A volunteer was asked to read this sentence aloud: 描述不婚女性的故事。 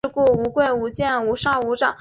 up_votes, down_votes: 1, 2